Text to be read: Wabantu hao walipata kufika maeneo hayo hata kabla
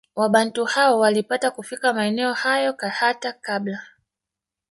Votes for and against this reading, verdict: 0, 2, rejected